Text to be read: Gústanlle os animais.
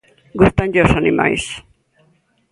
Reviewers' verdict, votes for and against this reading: accepted, 2, 0